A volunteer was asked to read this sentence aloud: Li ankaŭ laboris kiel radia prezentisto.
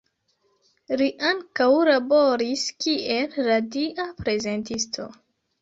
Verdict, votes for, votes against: rejected, 1, 2